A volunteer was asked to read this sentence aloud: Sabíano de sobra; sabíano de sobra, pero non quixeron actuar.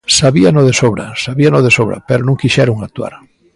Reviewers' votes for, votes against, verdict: 2, 0, accepted